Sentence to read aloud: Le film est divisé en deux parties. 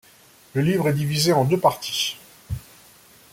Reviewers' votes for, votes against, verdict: 1, 2, rejected